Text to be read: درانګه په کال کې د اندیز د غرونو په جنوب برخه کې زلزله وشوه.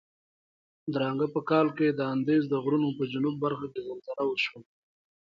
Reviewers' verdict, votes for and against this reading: accepted, 2, 0